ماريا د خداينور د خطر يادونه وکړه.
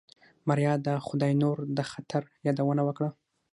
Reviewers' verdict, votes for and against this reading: rejected, 3, 6